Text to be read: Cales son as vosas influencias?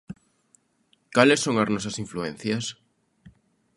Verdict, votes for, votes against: rejected, 1, 2